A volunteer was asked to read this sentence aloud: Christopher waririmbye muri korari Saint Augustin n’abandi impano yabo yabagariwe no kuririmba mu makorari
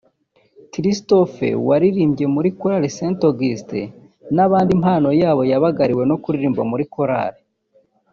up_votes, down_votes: 0, 2